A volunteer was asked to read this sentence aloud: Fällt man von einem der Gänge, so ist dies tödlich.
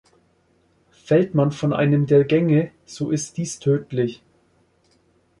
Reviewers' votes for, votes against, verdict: 2, 0, accepted